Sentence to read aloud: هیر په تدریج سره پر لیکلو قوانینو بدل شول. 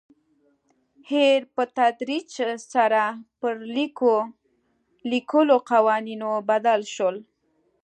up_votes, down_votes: 0, 2